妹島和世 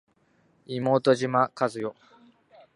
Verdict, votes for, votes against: accepted, 4, 3